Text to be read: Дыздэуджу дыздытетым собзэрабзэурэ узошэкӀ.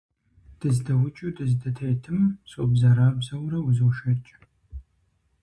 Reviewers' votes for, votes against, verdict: 4, 0, accepted